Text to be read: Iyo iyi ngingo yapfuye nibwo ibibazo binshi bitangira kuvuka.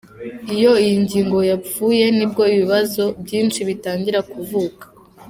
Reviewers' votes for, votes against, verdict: 2, 0, accepted